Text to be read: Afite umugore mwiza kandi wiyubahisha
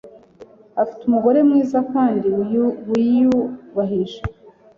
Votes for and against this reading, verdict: 1, 2, rejected